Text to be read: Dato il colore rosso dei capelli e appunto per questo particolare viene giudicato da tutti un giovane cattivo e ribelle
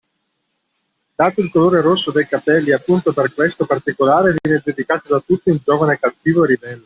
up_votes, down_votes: 0, 2